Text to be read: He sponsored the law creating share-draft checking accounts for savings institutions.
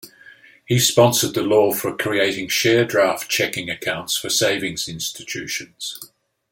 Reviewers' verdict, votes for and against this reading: rejected, 0, 2